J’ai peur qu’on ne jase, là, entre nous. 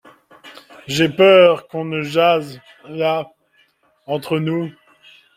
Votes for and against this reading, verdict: 2, 0, accepted